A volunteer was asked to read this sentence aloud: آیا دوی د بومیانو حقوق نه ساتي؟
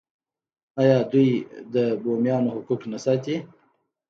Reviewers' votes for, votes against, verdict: 2, 0, accepted